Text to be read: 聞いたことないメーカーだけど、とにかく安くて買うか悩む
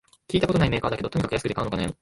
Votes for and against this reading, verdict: 1, 2, rejected